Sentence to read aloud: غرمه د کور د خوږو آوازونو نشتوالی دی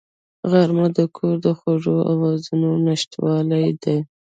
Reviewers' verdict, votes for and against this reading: accepted, 2, 1